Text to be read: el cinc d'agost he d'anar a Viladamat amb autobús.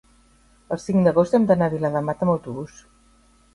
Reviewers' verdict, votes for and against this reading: rejected, 0, 2